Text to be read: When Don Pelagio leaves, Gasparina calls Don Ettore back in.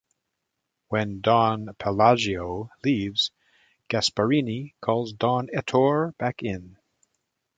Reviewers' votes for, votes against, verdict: 1, 3, rejected